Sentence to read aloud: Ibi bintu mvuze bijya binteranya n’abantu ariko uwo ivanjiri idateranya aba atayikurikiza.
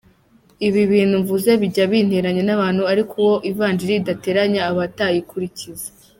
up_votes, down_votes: 3, 0